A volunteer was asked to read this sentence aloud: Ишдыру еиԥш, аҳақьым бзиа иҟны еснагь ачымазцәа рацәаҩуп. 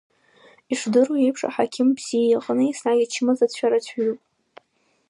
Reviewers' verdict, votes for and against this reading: accepted, 2, 1